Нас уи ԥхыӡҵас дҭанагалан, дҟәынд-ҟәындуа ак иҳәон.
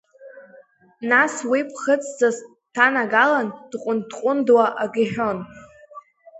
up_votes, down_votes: 2, 0